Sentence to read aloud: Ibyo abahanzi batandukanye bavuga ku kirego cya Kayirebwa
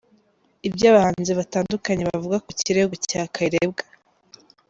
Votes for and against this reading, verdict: 2, 0, accepted